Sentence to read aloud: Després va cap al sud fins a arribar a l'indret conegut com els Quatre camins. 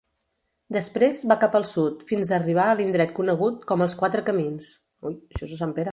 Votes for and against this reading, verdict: 0, 2, rejected